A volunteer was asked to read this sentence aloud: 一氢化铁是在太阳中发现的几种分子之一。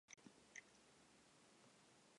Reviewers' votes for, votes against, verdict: 0, 3, rejected